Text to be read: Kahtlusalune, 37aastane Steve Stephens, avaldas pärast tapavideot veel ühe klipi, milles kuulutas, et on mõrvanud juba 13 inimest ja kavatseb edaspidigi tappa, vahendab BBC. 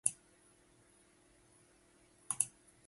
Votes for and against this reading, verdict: 0, 2, rejected